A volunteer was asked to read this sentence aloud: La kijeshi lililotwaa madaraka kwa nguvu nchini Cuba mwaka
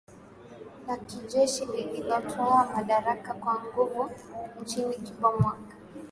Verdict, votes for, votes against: accepted, 2, 1